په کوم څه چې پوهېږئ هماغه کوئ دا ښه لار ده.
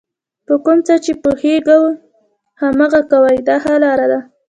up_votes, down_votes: 2, 0